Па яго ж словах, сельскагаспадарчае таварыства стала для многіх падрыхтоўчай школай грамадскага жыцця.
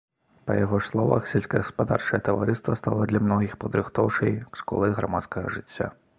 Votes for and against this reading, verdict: 2, 1, accepted